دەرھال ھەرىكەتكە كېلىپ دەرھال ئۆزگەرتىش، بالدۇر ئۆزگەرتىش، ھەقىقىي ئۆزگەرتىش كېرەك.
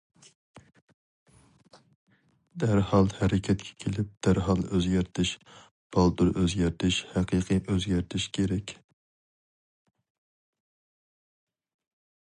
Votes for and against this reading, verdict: 4, 0, accepted